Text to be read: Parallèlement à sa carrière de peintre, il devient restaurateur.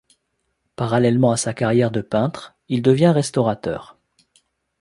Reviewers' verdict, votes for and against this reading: accepted, 2, 0